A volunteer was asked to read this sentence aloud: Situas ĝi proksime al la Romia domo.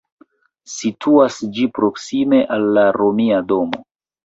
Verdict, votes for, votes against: accepted, 2, 0